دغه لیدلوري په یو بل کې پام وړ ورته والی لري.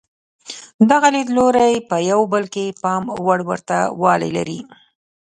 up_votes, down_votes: 0, 2